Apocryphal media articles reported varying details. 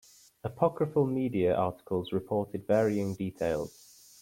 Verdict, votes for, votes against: accepted, 2, 0